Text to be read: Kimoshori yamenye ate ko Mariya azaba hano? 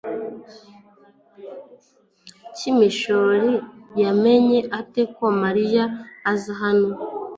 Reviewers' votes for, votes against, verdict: 0, 3, rejected